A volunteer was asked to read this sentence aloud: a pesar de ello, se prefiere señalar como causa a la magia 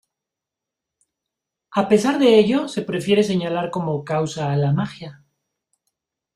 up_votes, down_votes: 2, 0